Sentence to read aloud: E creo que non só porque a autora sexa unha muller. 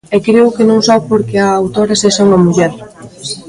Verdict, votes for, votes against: accepted, 2, 0